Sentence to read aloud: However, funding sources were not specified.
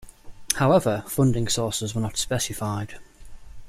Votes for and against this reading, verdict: 3, 0, accepted